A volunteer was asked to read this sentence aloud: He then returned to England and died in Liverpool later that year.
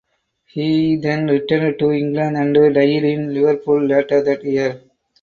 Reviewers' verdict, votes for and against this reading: rejected, 2, 4